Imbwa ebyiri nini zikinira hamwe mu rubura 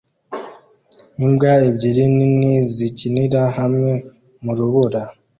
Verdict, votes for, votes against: accepted, 2, 0